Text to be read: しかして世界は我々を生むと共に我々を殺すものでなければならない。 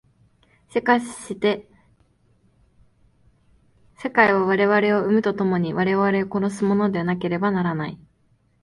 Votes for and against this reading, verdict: 4, 0, accepted